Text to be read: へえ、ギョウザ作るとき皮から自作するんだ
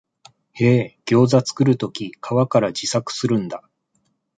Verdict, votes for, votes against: rejected, 1, 2